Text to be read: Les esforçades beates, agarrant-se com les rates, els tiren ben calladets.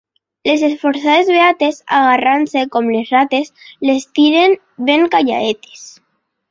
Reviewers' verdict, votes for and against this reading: rejected, 1, 2